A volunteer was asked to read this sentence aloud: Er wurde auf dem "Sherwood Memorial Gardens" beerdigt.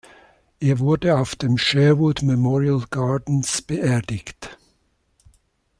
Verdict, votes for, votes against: accepted, 2, 0